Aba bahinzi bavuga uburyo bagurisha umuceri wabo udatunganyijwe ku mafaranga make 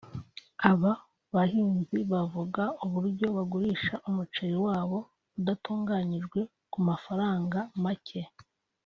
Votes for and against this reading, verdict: 2, 0, accepted